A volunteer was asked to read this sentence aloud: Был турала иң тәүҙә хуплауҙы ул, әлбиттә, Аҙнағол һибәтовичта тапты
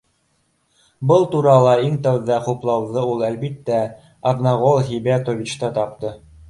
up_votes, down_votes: 2, 0